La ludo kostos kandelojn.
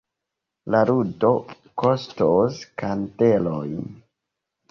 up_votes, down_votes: 2, 1